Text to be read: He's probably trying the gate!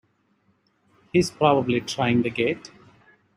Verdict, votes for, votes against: accepted, 2, 0